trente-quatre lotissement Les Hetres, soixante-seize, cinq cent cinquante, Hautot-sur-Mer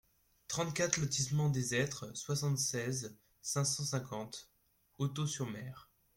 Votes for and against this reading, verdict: 0, 2, rejected